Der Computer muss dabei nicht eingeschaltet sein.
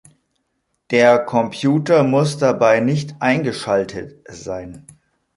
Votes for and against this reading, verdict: 2, 0, accepted